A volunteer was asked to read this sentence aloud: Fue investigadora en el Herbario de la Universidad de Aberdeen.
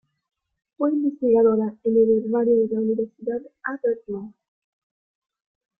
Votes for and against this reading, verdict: 1, 2, rejected